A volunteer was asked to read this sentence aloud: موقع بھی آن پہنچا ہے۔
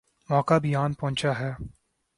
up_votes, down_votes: 11, 1